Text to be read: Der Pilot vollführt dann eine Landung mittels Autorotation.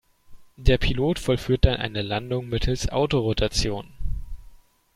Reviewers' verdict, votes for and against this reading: rejected, 1, 2